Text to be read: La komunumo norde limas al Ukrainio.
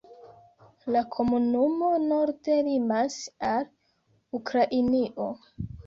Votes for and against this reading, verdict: 3, 0, accepted